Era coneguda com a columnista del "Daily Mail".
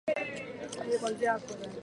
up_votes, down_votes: 0, 4